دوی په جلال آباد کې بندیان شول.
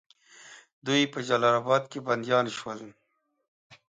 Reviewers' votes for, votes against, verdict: 2, 0, accepted